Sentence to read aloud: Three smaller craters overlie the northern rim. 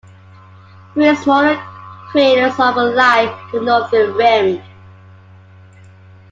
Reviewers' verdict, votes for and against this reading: accepted, 2, 1